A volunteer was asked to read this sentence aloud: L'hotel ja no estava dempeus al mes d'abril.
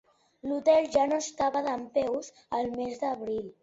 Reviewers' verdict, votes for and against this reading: accepted, 2, 0